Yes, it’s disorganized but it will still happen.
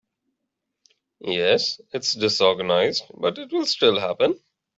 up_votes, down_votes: 2, 0